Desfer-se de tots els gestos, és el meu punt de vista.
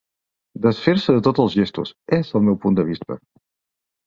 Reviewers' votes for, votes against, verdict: 4, 0, accepted